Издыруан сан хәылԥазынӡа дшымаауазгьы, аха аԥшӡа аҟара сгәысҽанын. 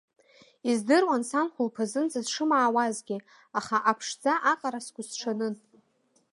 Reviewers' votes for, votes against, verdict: 2, 3, rejected